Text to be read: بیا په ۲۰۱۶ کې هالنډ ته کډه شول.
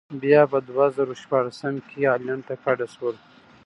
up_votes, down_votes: 0, 2